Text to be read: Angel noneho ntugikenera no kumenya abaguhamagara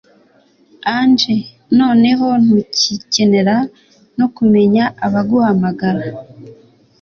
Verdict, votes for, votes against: accepted, 3, 0